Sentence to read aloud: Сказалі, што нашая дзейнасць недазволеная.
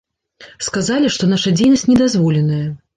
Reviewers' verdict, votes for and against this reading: rejected, 1, 2